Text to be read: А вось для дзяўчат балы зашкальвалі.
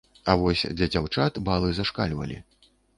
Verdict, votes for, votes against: accepted, 2, 0